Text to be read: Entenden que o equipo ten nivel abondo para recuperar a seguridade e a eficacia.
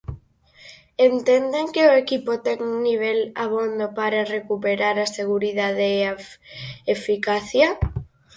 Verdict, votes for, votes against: rejected, 0, 4